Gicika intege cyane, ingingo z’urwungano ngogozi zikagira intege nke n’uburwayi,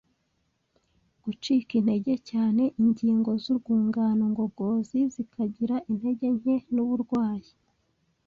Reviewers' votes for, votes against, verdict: 0, 2, rejected